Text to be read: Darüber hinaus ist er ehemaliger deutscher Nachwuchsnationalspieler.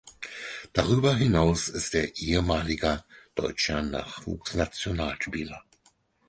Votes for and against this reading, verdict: 4, 0, accepted